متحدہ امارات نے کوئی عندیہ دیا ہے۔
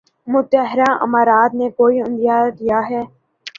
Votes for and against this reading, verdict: 0, 2, rejected